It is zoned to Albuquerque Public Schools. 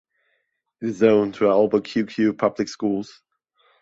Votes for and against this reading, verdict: 1, 2, rejected